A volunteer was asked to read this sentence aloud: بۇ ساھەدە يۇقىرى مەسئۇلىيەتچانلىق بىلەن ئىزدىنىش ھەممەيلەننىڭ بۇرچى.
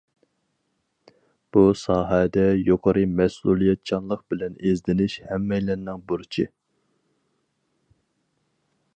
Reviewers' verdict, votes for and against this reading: accepted, 4, 0